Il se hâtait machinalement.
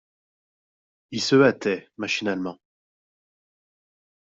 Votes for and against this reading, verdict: 2, 0, accepted